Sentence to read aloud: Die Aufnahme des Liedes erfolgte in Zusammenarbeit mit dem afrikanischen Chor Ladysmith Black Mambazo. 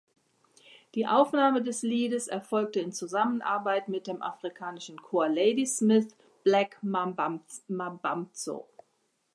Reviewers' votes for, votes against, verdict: 1, 2, rejected